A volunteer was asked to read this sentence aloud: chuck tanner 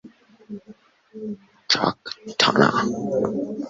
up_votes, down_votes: 1, 2